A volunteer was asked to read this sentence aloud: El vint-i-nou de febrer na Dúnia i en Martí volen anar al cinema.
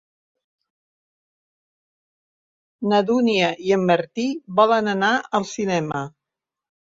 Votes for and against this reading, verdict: 2, 0, accepted